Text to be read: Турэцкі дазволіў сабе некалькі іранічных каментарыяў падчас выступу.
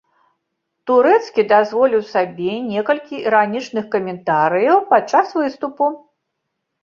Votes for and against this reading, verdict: 2, 0, accepted